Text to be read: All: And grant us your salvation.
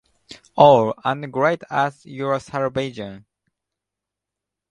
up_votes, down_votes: 1, 2